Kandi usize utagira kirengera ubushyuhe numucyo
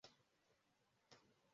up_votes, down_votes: 0, 2